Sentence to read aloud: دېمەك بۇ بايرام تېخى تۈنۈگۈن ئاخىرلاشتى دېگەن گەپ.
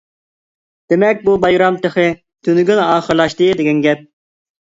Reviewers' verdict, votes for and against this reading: accepted, 2, 0